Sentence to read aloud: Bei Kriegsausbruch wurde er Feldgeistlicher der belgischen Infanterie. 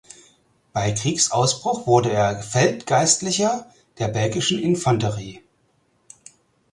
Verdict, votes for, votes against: accepted, 4, 0